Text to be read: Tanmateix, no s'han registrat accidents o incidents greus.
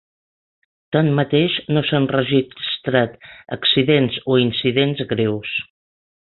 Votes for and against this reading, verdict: 2, 4, rejected